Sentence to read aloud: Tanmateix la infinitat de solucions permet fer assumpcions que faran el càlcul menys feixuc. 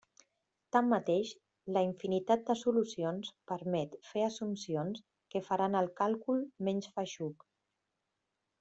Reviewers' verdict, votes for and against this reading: accepted, 3, 0